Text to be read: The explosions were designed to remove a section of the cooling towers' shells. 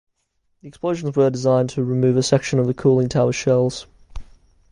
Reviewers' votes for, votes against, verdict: 1, 2, rejected